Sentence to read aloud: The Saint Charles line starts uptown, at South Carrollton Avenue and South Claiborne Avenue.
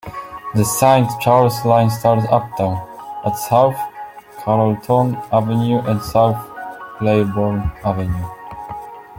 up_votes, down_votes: 1, 2